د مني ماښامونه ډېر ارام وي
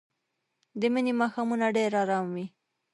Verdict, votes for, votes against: accepted, 2, 0